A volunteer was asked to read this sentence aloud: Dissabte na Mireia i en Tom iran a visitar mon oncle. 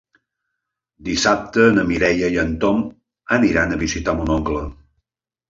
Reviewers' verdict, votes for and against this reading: rejected, 0, 2